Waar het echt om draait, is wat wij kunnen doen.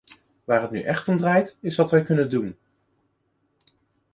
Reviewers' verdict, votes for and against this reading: rejected, 0, 2